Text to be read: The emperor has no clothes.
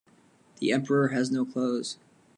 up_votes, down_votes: 2, 0